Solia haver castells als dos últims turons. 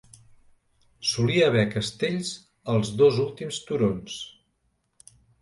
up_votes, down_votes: 2, 0